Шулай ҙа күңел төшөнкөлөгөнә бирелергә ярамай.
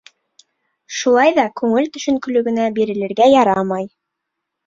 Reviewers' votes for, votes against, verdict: 2, 0, accepted